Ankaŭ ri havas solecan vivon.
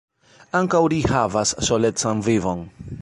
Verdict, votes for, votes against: accepted, 2, 0